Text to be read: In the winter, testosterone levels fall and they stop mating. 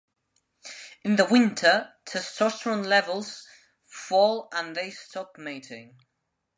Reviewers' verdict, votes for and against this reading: accepted, 2, 0